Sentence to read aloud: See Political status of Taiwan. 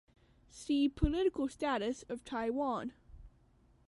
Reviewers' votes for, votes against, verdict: 2, 0, accepted